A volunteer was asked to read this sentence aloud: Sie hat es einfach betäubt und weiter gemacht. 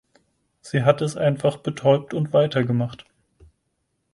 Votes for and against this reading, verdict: 4, 0, accepted